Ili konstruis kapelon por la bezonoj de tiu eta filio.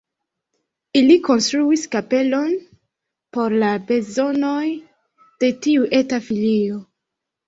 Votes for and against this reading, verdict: 2, 1, accepted